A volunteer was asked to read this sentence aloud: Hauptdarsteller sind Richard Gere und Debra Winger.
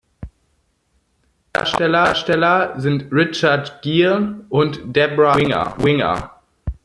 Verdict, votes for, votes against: rejected, 0, 2